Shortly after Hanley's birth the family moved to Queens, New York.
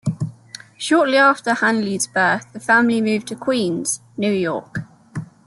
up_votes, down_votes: 2, 0